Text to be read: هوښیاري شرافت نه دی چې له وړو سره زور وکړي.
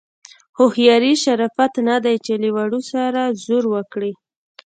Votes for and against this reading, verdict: 2, 0, accepted